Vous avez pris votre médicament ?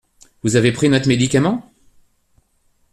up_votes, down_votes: 1, 2